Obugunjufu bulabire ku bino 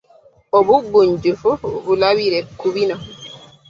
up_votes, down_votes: 0, 2